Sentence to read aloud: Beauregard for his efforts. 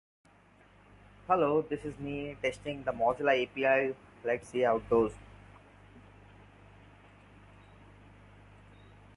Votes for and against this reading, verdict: 0, 2, rejected